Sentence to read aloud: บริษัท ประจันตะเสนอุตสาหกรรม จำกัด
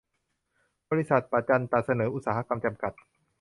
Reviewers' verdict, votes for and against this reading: rejected, 0, 2